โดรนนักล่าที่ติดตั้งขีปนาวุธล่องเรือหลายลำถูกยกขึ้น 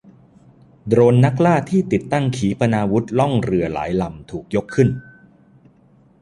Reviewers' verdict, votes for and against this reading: accepted, 2, 0